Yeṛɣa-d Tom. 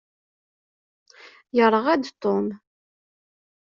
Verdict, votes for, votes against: accepted, 2, 0